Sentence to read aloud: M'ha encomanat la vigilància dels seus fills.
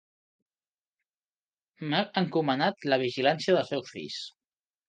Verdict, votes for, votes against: accepted, 2, 1